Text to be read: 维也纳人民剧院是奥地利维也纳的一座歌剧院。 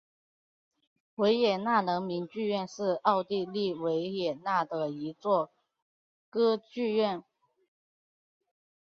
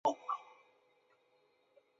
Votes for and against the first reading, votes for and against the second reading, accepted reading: 2, 1, 0, 2, first